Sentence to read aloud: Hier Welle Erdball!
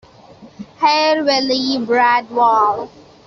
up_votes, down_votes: 0, 2